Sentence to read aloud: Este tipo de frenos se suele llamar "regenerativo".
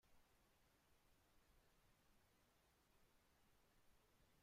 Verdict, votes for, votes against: rejected, 0, 2